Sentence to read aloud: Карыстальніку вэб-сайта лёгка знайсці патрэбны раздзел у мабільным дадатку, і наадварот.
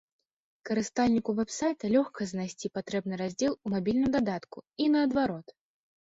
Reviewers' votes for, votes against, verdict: 1, 2, rejected